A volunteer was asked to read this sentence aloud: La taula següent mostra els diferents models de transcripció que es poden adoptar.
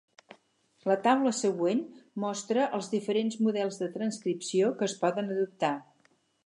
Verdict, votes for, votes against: accepted, 6, 0